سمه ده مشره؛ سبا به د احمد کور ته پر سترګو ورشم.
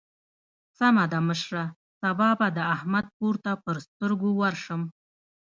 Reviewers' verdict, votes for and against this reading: rejected, 1, 2